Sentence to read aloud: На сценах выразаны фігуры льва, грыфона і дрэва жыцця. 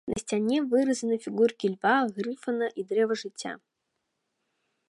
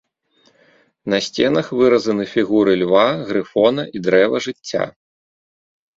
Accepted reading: second